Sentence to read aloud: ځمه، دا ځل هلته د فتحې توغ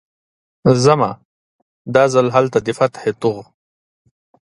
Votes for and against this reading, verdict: 2, 0, accepted